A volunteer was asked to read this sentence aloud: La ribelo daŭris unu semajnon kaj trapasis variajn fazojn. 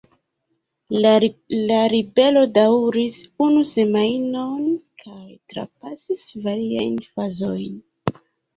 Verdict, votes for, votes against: rejected, 0, 2